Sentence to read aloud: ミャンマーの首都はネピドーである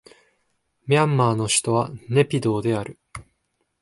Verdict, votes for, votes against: accepted, 2, 0